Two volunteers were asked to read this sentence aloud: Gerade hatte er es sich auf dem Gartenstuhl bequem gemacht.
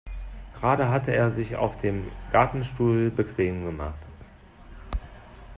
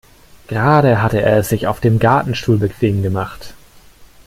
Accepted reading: second